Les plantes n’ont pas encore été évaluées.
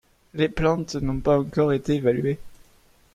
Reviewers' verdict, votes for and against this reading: accepted, 2, 1